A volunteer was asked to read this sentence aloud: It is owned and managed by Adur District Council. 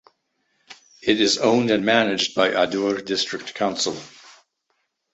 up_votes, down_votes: 2, 0